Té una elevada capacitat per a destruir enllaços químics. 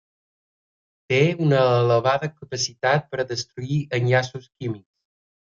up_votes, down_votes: 3, 1